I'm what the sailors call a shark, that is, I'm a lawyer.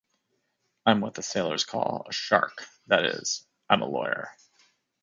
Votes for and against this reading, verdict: 2, 0, accepted